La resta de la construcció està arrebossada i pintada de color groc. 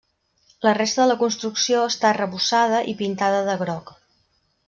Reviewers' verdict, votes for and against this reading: rejected, 1, 2